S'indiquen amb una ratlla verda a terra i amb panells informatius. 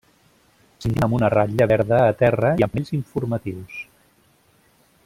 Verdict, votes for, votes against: rejected, 0, 2